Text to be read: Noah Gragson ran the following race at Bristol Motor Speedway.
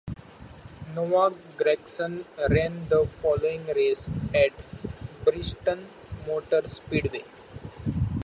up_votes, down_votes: 2, 0